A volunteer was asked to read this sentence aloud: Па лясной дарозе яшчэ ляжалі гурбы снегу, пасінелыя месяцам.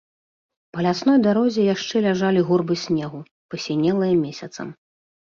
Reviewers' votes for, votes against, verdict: 2, 0, accepted